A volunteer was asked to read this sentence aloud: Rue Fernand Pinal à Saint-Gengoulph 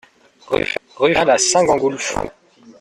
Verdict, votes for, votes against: rejected, 0, 2